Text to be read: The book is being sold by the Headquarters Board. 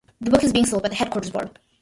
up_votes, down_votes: 2, 1